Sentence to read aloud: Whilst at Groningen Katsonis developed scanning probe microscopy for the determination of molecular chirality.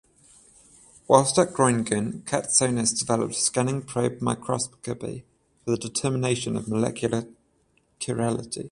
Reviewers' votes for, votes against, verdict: 7, 7, rejected